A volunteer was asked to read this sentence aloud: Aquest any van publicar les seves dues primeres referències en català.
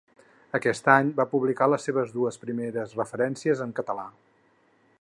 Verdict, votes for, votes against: accepted, 4, 0